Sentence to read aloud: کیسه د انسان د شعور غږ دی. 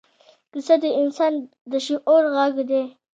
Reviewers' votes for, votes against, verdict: 2, 1, accepted